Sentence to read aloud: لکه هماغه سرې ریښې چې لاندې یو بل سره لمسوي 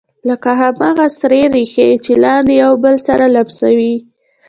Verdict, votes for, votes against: rejected, 1, 2